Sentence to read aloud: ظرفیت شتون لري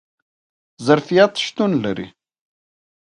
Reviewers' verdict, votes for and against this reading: rejected, 0, 2